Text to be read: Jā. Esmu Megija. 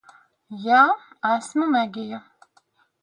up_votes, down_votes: 2, 0